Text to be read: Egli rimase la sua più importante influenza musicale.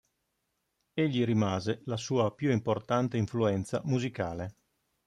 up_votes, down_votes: 2, 0